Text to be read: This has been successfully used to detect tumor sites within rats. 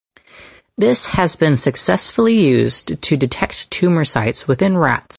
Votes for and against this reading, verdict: 4, 0, accepted